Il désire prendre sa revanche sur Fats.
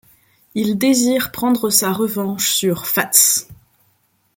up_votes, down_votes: 2, 0